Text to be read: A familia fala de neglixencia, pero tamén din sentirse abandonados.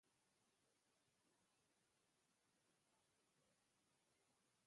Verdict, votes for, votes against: rejected, 0, 2